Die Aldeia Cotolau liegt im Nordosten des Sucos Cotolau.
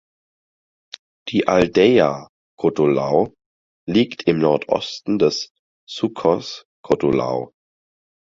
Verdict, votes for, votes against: accepted, 4, 0